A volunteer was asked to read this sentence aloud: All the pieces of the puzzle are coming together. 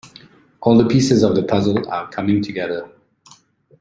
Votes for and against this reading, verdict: 2, 0, accepted